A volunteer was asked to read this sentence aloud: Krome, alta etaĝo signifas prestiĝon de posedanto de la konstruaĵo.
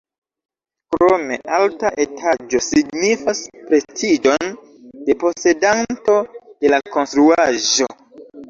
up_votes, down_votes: 0, 2